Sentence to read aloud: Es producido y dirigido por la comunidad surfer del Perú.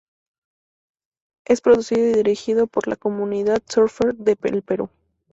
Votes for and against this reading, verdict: 0, 2, rejected